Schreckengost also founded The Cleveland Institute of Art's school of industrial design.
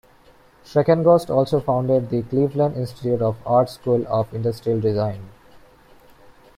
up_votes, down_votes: 2, 1